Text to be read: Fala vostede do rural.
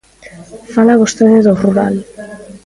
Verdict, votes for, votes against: rejected, 1, 2